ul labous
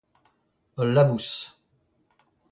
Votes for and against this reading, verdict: 0, 2, rejected